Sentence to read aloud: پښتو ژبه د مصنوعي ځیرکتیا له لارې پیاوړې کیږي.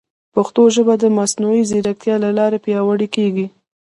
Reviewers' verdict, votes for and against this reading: rejected, 1, 2